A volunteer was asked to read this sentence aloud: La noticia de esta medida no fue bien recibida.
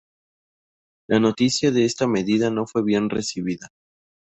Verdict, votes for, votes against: accepted, 2, 0